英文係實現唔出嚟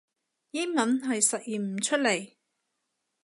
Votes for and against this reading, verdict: 2, 0, accepted